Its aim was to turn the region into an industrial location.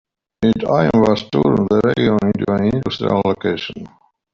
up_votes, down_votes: 1, 2